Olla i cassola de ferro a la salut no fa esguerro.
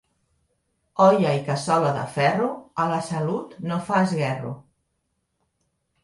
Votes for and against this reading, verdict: 2, 0, accepted